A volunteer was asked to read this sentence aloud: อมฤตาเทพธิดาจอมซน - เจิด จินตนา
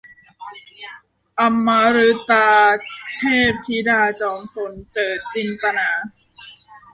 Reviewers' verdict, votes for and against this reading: rejected, 0, 2